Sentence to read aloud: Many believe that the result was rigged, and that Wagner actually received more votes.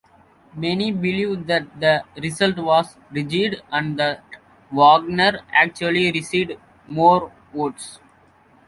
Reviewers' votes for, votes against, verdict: 1, 2, rejected